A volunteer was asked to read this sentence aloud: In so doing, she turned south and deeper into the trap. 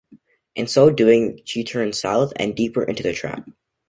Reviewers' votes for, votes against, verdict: 2, 0, accepted